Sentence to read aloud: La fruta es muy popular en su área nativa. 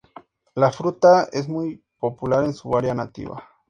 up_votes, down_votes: 2, 0